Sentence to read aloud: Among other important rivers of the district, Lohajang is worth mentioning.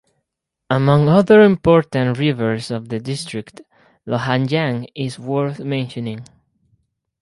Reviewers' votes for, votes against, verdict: 0, 2, rejected